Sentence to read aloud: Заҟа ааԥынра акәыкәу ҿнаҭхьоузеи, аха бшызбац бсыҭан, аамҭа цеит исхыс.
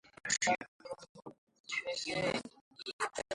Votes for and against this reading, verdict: 0, 2, rejected